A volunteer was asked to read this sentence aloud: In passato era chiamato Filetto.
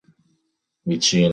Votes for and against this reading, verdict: 1, 2, rejected